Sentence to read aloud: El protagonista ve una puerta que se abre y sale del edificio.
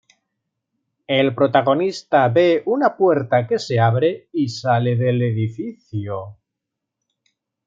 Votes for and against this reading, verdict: 2, 0, accepted